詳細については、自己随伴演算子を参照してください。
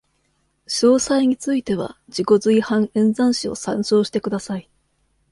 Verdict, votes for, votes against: accepted, 2, 0